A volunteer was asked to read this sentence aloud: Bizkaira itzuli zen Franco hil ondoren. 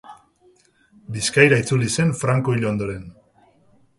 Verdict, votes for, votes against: accepted, 2, 0